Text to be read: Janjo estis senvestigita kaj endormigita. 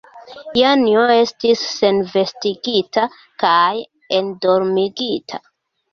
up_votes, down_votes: 2, 0